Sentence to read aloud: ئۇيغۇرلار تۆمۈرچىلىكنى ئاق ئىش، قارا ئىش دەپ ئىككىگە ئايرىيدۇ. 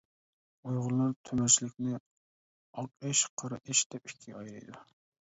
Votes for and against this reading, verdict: 1, 2, rejected